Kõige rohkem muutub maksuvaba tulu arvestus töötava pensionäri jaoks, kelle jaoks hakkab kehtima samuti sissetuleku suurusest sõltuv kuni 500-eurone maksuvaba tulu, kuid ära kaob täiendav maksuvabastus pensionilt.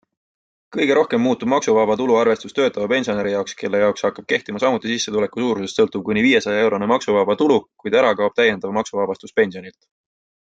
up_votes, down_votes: 0, 2